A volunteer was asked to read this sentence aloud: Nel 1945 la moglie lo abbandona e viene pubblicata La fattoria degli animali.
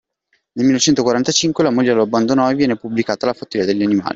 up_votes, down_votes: 0, 2